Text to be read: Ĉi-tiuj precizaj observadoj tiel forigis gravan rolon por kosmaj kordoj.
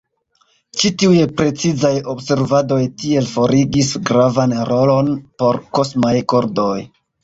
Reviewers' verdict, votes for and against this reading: rejected, 0, 2